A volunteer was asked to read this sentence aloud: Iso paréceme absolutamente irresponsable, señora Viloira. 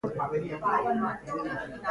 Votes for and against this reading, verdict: 0, 2, rejected